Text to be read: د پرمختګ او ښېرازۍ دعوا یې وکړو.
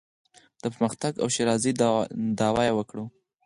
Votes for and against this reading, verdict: 6, 0, accepted